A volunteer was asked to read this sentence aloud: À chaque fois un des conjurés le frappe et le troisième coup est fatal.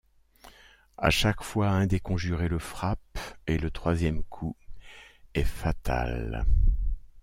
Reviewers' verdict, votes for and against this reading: accepted, 2, 0